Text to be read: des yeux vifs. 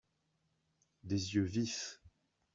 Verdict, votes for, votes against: accepted, 2, 0